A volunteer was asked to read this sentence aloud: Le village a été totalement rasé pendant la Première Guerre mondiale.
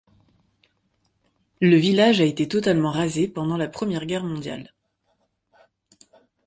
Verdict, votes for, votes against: accepted, 3, 0